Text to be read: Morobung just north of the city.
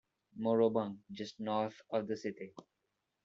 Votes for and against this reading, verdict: 2, 1, accepted